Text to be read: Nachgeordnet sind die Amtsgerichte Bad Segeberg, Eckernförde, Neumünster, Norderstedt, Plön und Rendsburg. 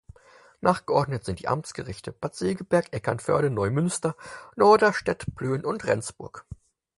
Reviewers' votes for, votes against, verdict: 4, 0, accepted